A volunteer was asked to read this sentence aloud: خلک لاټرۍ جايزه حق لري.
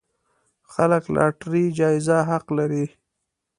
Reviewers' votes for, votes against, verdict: 2, 0, accepted